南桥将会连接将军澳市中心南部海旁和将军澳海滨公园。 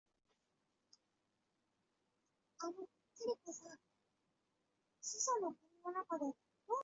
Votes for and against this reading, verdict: 0, 4, rejected